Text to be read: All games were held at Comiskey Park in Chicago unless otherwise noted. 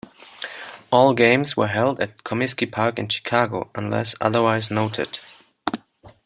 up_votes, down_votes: 1, 2